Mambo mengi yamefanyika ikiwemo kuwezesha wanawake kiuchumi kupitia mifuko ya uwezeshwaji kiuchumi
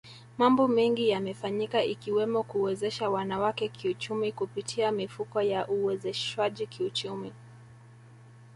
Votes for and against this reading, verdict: 1, 2, rejected